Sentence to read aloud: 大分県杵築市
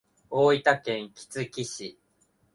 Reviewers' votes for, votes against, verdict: 2, 0, accepted